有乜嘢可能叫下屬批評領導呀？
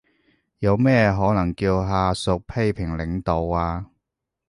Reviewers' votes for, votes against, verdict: 1, 2, rejected